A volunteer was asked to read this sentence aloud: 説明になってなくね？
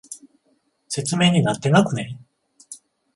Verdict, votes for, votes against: rejected, 7, 14